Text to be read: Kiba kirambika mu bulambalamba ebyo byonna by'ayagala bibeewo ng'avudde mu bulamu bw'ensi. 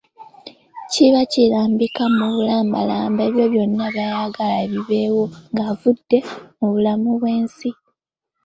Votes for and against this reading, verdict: 3, 0, accepted